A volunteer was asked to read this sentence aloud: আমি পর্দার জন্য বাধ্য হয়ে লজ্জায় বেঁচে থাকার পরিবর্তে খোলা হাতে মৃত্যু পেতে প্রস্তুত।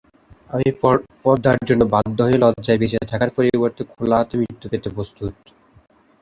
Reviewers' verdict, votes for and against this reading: rejected, 0, 3